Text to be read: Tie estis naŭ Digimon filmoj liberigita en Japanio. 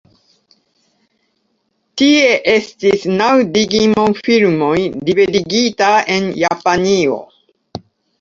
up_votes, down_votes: 2, 0